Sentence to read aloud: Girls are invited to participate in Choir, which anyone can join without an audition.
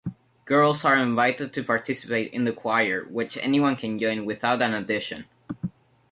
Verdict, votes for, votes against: rejected, 0, 2